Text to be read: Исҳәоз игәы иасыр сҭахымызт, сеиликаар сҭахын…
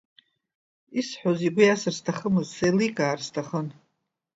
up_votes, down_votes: 1, 2